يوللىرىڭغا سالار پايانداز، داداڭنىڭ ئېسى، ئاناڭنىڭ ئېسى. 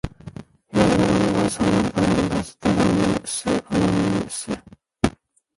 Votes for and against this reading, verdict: 0, 2, rejected